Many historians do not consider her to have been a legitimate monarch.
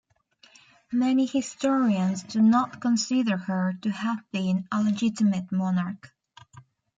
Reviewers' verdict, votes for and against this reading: accepted, 2, 0